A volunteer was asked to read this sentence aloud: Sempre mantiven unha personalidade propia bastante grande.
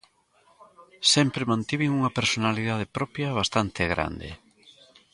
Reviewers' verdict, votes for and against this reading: accepted, 2, 0